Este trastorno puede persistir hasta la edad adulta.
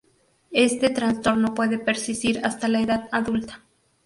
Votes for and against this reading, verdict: 2, 2, rejected